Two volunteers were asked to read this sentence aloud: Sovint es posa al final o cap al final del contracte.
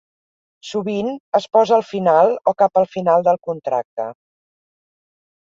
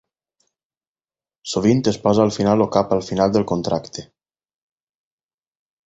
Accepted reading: first